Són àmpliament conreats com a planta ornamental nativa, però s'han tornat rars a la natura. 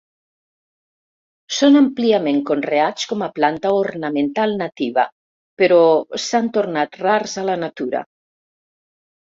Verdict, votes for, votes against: accepted, 4, 0